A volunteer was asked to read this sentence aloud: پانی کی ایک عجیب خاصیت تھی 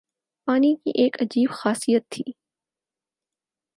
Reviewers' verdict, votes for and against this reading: accepted, 4, 0